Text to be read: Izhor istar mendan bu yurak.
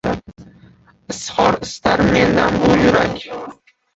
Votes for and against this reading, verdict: 0, 2, rejected